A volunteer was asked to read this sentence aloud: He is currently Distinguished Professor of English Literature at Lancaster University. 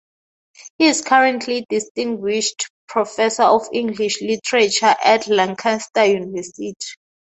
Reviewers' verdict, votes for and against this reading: accepted, 2, 0